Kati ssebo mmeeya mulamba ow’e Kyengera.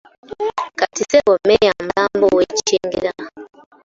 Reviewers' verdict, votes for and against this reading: accepted, 2, 1